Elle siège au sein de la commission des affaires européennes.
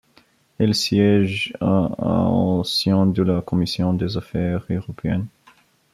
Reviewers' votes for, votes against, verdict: 0, 2, rejected